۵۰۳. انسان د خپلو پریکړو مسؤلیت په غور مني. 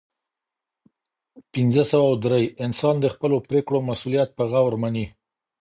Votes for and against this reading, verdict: 0, 2, rejected